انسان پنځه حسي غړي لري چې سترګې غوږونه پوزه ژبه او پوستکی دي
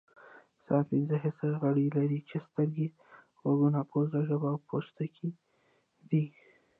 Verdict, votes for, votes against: rejected, 1, 2